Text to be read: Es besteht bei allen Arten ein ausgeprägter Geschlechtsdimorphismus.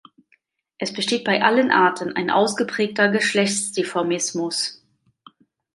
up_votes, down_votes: 0, 2